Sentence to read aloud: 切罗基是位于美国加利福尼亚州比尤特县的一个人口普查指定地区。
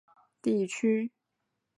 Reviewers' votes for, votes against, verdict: 1, 4, rejected